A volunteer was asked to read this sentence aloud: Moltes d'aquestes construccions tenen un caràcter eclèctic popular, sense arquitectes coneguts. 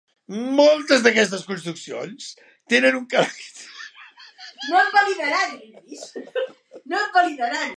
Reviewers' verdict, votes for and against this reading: rejected, 0, 2